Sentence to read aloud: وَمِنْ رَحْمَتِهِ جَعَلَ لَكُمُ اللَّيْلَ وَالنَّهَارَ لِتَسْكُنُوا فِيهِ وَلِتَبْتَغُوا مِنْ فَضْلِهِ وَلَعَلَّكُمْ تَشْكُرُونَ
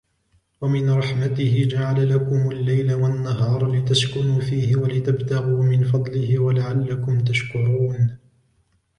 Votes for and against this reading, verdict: 3, 0, accepted